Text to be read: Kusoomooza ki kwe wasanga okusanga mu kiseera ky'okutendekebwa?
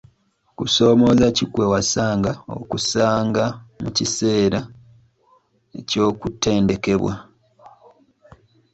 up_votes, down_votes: 0, 2